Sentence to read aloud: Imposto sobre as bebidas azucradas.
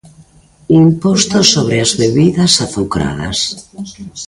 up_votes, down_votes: 3, 0